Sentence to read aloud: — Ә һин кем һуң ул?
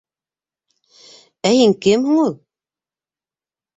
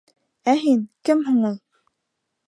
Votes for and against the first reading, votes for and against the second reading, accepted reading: 0, 2, 2, 0, second